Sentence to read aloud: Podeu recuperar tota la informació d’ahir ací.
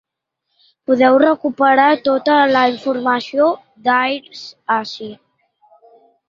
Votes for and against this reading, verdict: 0, 2, rejected